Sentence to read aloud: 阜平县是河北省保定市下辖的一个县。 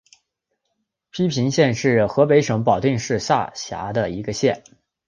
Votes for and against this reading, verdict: 4, 1, accepted